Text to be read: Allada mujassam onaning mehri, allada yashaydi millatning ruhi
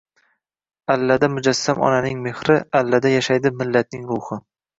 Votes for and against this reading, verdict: 1, 2, rejected